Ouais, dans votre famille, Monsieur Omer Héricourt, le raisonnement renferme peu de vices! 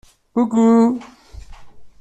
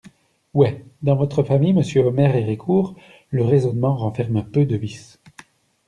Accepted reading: second